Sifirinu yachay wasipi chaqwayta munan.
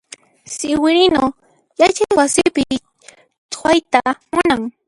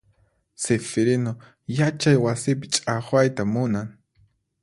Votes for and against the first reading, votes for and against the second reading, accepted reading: 0, 2, 4, 0, second